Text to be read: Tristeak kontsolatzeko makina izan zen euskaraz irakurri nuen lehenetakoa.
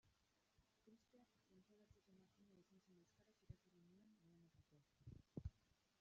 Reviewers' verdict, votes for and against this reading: rejected, 0, 2